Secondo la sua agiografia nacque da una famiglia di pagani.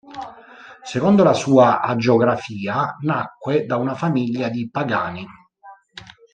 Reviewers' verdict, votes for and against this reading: rejected, 0, 2